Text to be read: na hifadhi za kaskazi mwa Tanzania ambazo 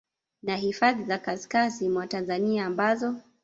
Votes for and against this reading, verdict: 3, 1, accepted